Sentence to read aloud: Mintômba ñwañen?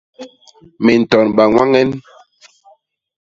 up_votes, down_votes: 0, 2